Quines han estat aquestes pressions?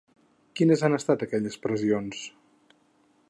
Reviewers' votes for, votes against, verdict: 0, 4, rejected